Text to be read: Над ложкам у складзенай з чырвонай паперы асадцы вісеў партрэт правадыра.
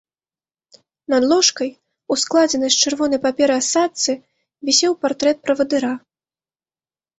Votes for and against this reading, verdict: 0, 3, rejected